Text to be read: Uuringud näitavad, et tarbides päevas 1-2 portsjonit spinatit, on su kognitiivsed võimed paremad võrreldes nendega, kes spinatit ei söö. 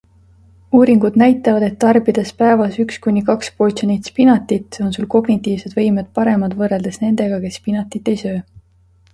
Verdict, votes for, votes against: rejected, 0, 2